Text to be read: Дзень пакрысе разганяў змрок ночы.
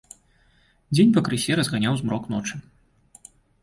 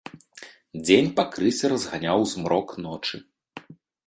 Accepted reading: first